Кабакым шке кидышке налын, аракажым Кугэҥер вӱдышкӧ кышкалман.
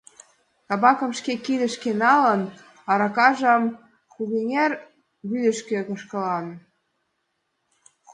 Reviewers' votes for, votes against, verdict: 0, 2, rejected